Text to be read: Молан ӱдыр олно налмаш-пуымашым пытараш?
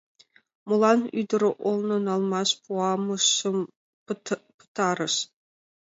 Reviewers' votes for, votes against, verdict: 1, 2, rejected